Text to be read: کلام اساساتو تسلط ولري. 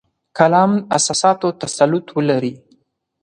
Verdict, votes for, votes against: accepted, 4, 0